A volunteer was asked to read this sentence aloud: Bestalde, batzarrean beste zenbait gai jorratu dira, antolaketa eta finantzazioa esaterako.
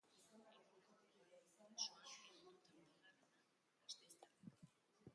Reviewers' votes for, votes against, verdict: 0, 2, rejected